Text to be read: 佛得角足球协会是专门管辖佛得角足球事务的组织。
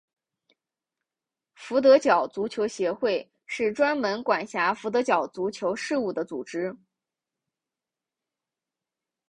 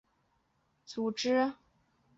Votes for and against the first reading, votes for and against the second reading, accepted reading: 2, 1, 1, 2, first